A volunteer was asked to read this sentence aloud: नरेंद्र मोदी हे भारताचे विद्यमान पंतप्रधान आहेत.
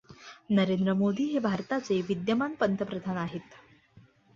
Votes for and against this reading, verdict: 2, 0, accepted